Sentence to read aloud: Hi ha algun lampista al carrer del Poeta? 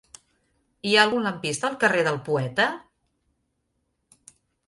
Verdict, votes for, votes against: accepted, 3, 0